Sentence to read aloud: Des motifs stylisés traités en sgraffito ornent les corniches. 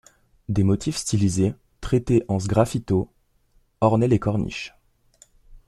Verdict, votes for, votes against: rejected, 0, 2